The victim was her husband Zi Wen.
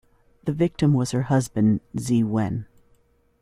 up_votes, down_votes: 2, 0